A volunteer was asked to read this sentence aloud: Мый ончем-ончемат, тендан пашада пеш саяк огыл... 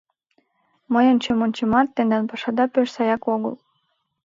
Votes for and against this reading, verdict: 2, 0, accepted